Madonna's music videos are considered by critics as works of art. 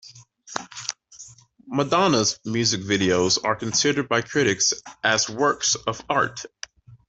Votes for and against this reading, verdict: 2, 0, accepted